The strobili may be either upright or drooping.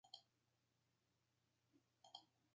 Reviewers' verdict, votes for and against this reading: rejected, 0, 2